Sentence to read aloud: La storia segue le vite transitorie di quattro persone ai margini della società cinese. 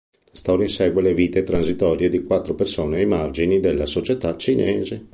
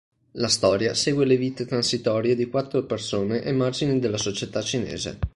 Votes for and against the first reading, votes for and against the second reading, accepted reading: 0, 2, 2, 0, second